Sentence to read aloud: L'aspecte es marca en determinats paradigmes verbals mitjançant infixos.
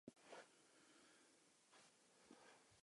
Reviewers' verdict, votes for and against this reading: rejected, 0, 2